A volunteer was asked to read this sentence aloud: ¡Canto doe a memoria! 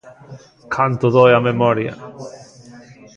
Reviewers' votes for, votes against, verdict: 2, 0, accepted